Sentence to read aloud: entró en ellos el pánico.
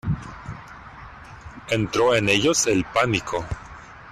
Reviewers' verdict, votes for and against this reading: accepted, 2, 0